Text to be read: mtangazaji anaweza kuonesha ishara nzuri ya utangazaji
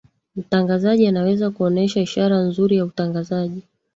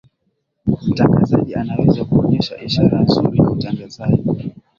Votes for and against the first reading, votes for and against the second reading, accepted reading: 2, 1, 2, 2, first